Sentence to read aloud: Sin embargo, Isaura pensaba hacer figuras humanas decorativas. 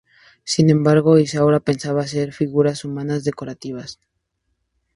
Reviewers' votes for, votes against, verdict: 0, 2, rejected